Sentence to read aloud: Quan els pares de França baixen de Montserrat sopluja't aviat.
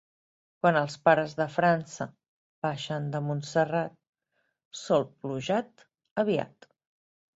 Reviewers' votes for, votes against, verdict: 3, 1, accepted